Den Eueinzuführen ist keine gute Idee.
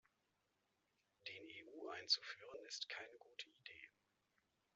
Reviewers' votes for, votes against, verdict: 0, 2, rejected